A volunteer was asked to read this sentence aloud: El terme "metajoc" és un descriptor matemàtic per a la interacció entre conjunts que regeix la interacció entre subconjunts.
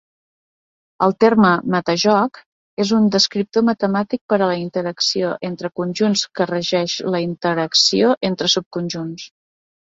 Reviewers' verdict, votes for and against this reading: accepted, 3, 0